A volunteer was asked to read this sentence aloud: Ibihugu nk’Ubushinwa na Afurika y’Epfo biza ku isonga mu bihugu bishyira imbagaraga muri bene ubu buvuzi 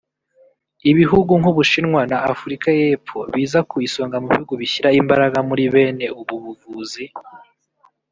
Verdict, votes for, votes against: rejected, 1, 2